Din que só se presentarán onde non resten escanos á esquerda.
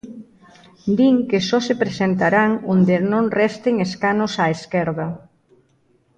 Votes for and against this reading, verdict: 2, 0, accepted